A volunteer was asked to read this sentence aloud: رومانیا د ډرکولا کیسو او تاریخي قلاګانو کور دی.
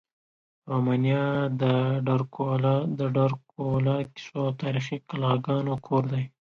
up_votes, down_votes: 2, 1